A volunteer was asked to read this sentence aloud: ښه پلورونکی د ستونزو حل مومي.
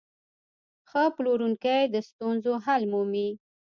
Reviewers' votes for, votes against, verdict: 2, 0, accepted